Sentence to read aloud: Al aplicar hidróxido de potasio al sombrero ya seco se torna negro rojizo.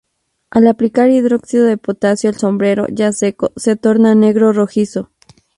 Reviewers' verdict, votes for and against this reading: rejected, 0, 2